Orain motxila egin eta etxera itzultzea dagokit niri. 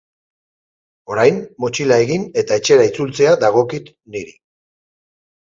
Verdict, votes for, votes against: accepted, 8, 0